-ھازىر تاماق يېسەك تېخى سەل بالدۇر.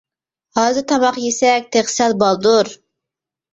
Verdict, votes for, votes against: rejected, 1, 2